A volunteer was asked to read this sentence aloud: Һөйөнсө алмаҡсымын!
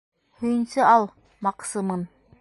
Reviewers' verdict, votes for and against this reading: rejected, 0, 2